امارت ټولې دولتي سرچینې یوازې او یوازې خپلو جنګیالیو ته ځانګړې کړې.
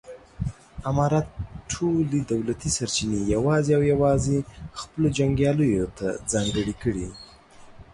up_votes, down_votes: 2, 0